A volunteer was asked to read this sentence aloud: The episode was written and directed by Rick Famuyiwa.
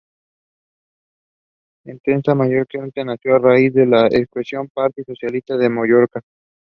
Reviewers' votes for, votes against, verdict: 1, 2, rejected